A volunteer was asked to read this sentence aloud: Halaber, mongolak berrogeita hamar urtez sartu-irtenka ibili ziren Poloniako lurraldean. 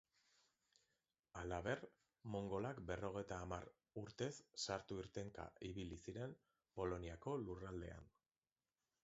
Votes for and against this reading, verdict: 3, 0, accepted